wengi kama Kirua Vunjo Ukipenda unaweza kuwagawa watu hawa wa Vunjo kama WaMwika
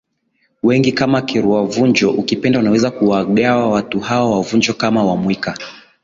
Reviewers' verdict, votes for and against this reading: accepted, 2, 0